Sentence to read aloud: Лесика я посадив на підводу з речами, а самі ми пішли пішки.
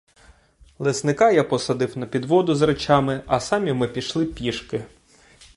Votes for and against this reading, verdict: 1, 2, rejected